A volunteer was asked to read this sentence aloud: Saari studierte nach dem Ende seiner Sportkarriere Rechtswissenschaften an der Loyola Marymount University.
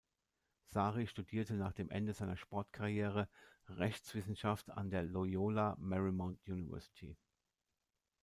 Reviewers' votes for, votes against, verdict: 2, 1, accepted